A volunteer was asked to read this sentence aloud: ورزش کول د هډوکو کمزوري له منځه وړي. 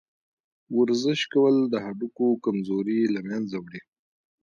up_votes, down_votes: 0, 2